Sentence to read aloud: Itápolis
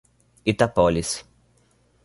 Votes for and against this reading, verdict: 0, 2, rejected